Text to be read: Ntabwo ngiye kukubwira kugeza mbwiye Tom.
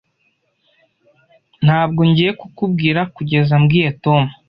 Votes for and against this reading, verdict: 2, 0, accepted